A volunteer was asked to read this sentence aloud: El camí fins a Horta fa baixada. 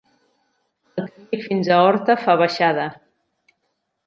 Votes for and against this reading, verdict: 0, 2, rejected